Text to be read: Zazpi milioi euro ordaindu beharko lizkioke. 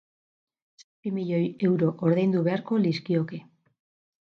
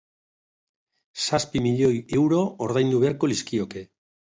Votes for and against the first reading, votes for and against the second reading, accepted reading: 2, 2, 2, 0, second